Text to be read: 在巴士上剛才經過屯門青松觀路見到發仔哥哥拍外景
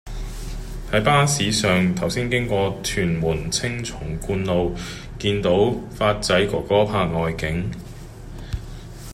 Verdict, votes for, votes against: rejected, 1, 2